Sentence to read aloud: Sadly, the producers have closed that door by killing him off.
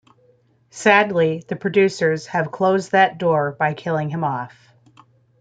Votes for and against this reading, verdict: 1, 2, rejected